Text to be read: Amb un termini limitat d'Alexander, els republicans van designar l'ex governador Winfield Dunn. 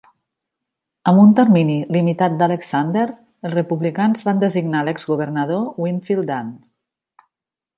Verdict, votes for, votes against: accepted, 2, 0